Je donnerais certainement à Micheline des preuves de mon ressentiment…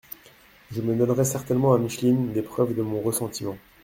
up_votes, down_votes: 1, 2